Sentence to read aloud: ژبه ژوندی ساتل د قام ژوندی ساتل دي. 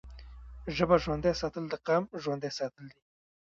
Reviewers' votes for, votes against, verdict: 0, 2, rejected